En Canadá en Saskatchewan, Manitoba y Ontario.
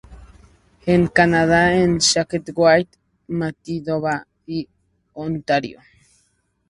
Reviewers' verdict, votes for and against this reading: accepted, 4, 0